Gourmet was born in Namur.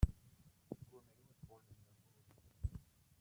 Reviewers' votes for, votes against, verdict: 0, 2, rejected